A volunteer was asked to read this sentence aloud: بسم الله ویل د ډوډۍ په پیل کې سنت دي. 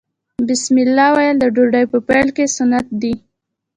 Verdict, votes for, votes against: accepted, 2, 0